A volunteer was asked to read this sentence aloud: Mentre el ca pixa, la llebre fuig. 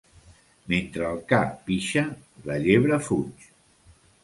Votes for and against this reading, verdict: 2, 0, accepted